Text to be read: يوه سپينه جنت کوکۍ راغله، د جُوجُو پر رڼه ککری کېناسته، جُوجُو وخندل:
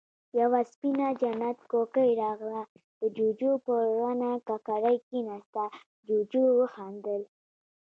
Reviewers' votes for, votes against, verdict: 1, 2, rejected